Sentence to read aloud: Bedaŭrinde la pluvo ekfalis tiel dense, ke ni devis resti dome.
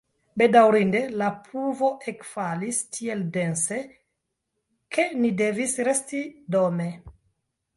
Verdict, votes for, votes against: accepted, 2, 0